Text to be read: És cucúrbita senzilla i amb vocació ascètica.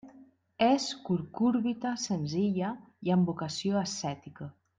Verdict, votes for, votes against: rejected, 1, 2